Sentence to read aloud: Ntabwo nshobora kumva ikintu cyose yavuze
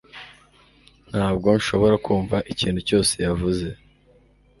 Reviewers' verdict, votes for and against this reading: accepted, 2, 0